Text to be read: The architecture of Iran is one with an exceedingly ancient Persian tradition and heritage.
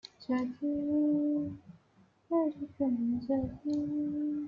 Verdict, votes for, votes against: rejected, 0, 2